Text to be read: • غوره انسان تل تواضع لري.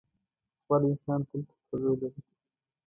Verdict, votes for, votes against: rejected, 0, 2